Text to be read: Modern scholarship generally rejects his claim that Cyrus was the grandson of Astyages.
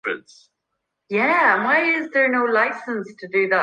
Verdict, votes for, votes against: rejected, 0, 2